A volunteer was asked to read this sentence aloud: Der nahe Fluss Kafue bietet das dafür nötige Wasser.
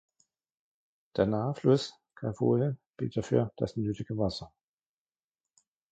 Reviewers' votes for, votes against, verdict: 0, 2, rejected